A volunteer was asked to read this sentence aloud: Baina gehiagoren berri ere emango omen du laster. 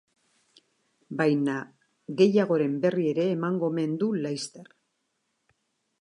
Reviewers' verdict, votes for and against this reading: rejected, 1, 2